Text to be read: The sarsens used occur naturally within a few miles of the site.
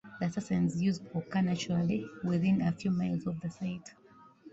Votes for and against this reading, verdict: 0, 2, rejected